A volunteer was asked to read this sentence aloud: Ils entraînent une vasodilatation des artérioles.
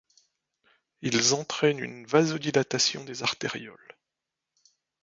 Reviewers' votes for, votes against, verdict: 2, 0, accepted